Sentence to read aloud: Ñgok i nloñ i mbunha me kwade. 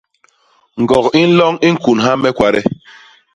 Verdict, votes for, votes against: rejected, 0, 2